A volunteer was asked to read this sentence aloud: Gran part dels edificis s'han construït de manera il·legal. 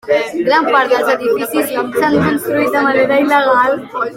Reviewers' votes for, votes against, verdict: 0, 2, rejected